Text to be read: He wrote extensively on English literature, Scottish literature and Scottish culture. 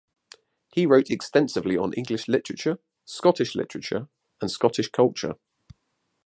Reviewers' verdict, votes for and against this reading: accepted, 2, 0